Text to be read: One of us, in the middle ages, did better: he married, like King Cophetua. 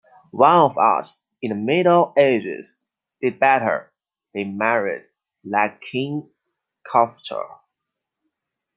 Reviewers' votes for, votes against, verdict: 2, 1, accepted